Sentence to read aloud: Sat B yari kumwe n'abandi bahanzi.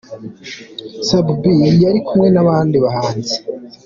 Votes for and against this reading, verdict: 2, 1, accepted